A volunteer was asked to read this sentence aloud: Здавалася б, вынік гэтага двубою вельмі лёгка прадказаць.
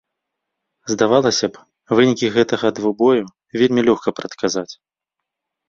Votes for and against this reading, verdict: 0, 2, rejected